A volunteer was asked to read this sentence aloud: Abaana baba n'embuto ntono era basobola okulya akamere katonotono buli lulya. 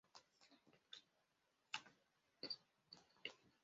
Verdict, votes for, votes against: rejected, 0, 2